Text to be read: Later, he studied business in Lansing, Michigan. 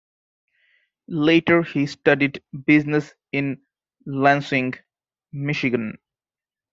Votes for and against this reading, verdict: 2, 0, accepted